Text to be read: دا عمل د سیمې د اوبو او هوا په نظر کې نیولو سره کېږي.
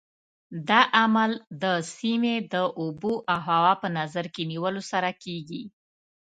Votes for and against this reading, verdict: 2, 0, accepted